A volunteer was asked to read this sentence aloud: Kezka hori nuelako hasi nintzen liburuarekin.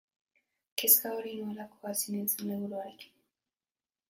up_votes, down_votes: 1, 2